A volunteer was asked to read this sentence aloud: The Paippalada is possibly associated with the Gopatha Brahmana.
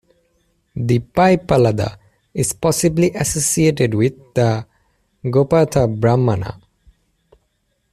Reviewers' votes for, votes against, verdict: 1, 2, rejected